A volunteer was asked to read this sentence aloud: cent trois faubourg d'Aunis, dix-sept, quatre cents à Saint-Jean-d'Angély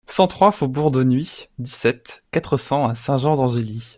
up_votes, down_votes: 2, 1